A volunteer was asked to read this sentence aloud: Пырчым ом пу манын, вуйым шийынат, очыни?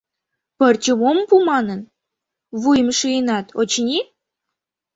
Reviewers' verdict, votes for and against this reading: accepted, 2, 0